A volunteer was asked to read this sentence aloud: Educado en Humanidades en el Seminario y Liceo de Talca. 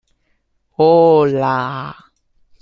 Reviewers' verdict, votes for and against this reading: rejected, 0, 2